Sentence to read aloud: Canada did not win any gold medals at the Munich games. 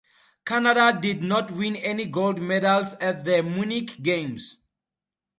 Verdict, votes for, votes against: accepted, 2, 0